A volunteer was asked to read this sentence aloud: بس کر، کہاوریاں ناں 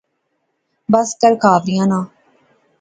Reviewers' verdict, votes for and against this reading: accepted, 2, 0